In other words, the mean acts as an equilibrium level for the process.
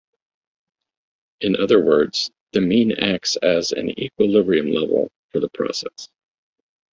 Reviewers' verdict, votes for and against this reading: accepted, 2, 1